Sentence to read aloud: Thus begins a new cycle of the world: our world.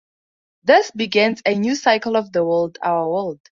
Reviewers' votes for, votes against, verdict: 2, 0, accepted